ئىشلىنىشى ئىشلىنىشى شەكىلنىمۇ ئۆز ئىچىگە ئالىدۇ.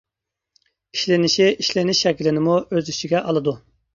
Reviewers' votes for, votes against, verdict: 0, 2, rejected